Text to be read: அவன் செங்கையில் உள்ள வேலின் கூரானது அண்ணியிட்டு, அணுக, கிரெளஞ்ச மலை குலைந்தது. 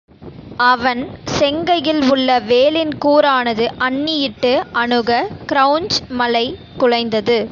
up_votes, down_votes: 1, 2